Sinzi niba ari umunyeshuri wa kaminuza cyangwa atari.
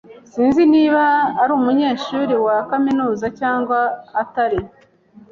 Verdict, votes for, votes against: accepted, 2, 0